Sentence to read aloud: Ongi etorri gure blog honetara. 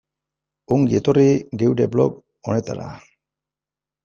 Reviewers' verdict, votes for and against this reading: rejected, 1, 2